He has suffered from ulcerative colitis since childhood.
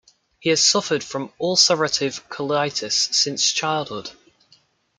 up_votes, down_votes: 1, 2